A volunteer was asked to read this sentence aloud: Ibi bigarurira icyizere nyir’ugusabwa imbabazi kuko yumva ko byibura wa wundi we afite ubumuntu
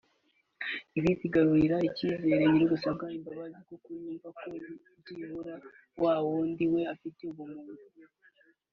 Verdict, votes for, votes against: rejected, 1, 2